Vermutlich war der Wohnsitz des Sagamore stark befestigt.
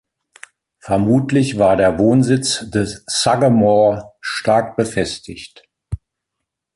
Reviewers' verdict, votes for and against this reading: accepted, 2, 0